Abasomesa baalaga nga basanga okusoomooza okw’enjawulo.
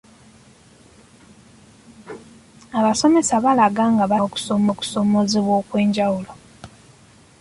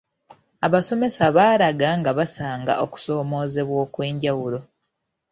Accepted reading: second